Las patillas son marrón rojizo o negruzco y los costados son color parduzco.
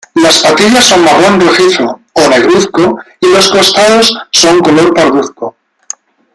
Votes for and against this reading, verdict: 1, 2, rejected